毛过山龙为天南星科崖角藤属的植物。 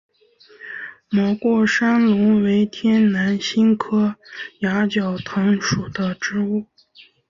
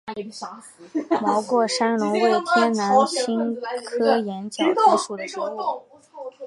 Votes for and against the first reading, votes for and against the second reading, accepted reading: 5, 0, 1, 2, first